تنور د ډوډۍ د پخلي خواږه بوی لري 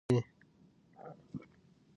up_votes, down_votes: 1, 2